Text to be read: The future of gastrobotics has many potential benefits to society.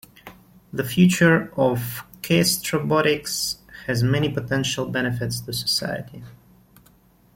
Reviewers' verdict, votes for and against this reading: accepted, 2, 0